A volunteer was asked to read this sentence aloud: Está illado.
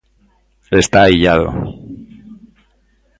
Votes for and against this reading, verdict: 2, 0, accepted